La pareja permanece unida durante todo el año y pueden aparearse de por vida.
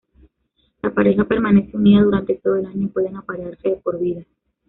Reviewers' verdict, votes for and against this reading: rejected, 1, 2